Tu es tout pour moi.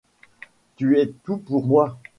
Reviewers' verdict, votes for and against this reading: accepted, 2, 0